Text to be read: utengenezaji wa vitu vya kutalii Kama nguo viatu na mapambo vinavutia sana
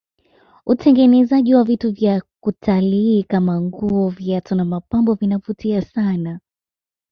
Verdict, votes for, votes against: accepted, 2, 0